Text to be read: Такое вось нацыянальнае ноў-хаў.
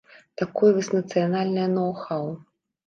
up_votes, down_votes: 2, 0